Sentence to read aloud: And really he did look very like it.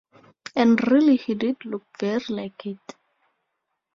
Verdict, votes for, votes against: rejected, 4, 8